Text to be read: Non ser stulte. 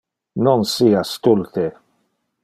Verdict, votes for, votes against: rejected, 0, 2